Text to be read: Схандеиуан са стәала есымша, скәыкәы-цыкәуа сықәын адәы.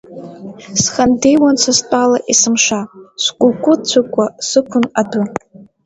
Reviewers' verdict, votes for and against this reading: accepted, 2, 1